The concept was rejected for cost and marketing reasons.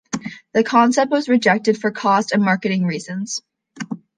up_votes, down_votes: 2, 0